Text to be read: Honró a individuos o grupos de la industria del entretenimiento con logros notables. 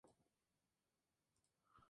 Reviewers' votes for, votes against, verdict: 0, 2, rejected